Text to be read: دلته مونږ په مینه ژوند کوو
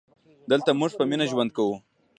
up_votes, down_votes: 1, 2